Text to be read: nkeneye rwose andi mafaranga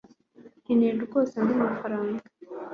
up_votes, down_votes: 2, 0